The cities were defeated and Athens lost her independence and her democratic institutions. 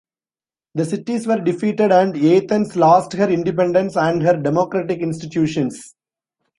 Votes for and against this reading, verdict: 2, 1, accepted